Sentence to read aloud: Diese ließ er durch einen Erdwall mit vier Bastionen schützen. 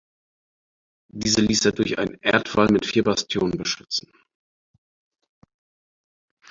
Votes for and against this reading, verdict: 2, 6, rejected